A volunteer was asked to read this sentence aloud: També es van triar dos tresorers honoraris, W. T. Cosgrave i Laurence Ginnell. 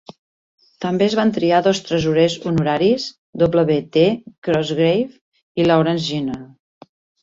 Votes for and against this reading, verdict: 2, 0, accepted